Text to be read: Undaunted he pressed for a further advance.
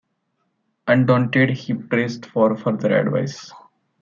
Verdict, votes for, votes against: accepted, 2, 1